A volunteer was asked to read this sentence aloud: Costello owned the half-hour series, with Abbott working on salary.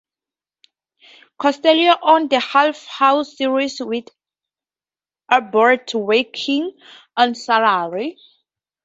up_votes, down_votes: 0, 4